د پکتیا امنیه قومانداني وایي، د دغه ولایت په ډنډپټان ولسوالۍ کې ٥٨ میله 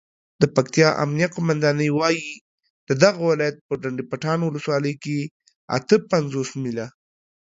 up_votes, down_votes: 0, 2